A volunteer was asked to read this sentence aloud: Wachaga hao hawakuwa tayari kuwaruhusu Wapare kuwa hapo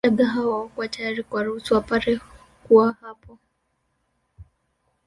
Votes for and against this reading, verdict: 3, 4, rejected